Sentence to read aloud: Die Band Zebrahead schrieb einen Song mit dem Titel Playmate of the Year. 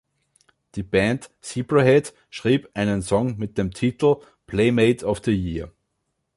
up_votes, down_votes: 2, 0